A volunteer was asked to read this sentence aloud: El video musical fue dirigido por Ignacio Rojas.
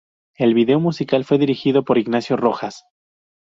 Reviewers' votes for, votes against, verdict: 2, 0, accepted